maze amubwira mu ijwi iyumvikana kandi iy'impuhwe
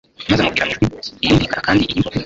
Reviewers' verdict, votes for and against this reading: rejected, 1, 2